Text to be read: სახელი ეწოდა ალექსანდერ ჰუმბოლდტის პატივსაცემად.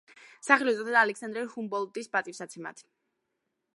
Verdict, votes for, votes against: rejected, 2, 4